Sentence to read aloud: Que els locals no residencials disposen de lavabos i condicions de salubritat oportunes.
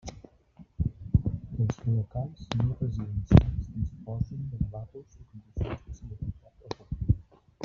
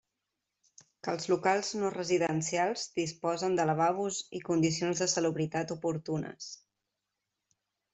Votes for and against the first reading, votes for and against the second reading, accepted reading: 0, 2, 2, 0, second